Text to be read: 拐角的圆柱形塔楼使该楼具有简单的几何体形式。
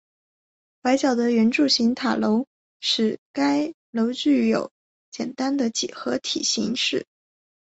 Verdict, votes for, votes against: rejected, 0, 2